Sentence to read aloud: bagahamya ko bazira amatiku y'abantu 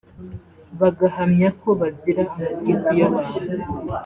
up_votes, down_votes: 2, 0